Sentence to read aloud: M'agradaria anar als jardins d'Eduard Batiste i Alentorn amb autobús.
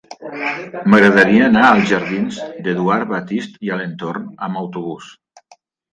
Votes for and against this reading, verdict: 1, 2, rejected